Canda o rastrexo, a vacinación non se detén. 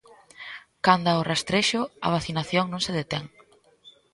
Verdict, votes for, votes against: rejected, 1, 2